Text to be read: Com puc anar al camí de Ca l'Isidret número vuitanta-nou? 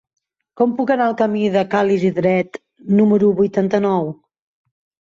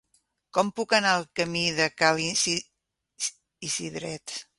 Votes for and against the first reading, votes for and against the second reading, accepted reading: 3, 0, 0, 3, first